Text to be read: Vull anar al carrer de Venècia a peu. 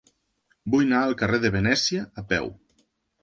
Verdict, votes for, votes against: rejected, 1, 2